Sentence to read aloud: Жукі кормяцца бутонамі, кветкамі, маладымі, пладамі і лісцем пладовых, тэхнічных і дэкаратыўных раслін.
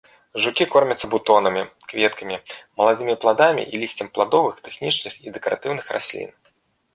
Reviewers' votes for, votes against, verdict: 2, 1, accepted